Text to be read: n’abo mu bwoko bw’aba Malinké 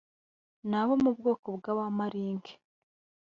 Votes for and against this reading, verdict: 1, 2, rejected